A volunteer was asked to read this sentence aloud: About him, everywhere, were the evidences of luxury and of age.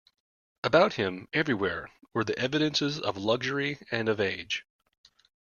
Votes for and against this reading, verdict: 2, 0, accepted